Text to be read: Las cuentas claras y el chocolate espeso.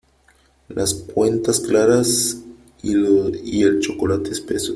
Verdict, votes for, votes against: rejected, 1, 2